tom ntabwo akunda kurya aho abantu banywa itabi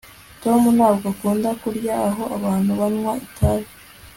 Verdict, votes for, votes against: accepted, 2, 0